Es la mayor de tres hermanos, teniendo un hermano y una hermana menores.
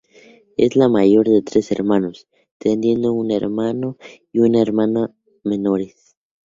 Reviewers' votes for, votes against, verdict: 2, 0, accepted